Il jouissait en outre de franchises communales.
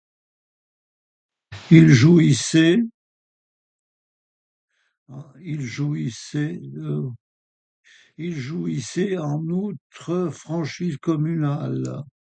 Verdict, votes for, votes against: rejected, 0, 2